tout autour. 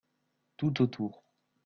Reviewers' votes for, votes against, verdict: 2, 0, accepted